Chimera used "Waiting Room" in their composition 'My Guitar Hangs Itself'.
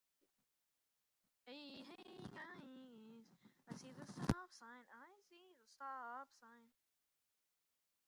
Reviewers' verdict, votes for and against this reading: rejected, 0, 2